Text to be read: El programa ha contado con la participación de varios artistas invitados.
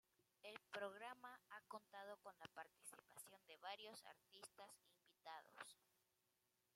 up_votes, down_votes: 1, 2